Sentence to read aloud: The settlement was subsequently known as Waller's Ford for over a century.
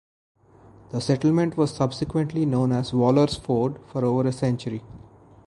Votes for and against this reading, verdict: 2, 0, accepted